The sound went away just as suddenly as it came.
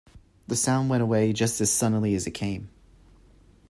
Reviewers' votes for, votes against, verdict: 2, 0, accepted